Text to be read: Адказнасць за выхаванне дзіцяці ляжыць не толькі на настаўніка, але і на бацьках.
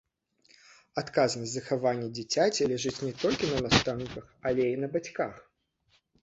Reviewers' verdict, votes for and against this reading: rejected, 1, 2